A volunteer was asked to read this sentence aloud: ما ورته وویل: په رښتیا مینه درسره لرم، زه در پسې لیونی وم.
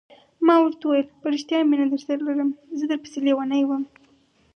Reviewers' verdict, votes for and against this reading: accepted, 4, 0